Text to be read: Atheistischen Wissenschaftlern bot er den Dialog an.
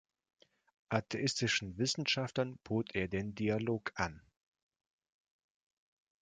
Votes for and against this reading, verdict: 2, 0, accepted